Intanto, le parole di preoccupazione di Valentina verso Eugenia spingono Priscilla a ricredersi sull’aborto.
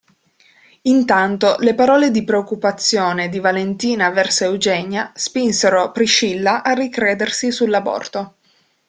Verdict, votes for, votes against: rejected, 0, 2